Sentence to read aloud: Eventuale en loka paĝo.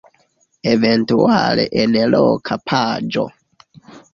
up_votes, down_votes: 2, 1